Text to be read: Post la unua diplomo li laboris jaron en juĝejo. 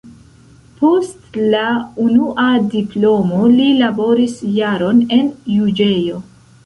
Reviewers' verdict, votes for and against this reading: rejected, 0, 2